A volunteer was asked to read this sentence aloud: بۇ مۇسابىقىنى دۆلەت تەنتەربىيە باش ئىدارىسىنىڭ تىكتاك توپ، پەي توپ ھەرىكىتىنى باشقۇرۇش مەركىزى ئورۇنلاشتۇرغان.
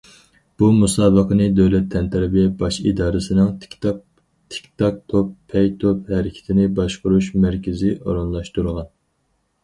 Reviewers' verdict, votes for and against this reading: rejected, 2, 4